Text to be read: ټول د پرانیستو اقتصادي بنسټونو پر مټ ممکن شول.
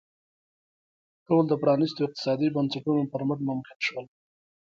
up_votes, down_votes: 2, 0